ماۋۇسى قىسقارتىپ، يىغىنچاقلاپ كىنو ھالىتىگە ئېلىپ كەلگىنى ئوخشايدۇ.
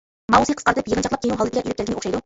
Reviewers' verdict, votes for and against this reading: rejected, 0, 2